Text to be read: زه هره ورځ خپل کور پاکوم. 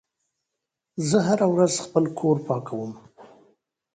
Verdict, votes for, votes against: accepted, 2, 0